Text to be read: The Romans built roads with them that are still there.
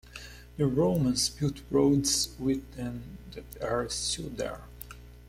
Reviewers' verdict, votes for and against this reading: accepted, 2, 1